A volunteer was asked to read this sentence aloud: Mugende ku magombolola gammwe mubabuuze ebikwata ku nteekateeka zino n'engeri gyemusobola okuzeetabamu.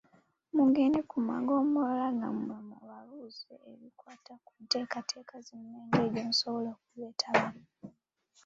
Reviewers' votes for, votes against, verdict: 2, 1, accepted